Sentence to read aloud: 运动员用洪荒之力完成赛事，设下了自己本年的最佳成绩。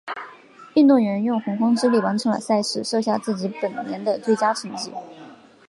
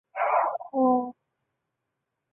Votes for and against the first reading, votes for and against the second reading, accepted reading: 3, 0, 0, 4, first